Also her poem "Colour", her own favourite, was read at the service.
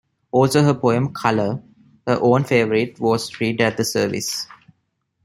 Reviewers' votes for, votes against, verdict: 2, 1, accepted